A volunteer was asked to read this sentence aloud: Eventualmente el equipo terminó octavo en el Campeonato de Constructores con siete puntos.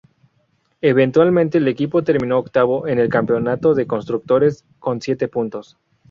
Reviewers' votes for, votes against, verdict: 4, 0, accepted